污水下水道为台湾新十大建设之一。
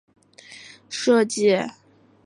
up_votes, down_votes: 1, 3